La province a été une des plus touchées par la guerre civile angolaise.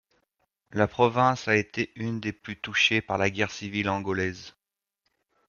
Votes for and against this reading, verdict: 2, 1, accepted